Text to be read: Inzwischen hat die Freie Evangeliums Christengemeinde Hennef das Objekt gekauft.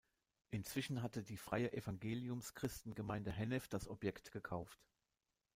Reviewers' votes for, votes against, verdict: 1, 2, rejected